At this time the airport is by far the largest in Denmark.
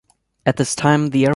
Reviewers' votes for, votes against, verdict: 0, 2, rejected